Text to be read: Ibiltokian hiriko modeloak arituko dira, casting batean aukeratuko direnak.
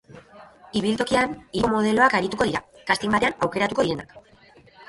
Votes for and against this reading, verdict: 0, 2, rejected